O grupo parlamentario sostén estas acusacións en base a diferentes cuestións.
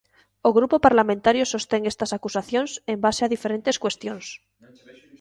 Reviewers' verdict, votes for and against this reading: rejected, 1, 2